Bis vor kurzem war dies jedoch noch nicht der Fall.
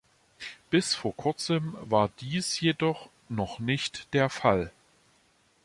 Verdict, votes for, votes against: accepted, 2, 0